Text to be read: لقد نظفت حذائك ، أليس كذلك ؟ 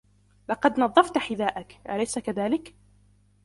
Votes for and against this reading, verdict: 2, 0, accepted